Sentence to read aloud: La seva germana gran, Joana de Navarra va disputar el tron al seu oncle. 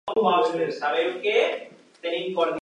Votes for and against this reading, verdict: 0, 2, rejected